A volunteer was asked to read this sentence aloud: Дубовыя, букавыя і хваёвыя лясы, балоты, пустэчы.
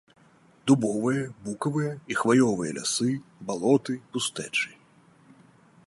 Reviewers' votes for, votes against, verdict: 3, 0, accepted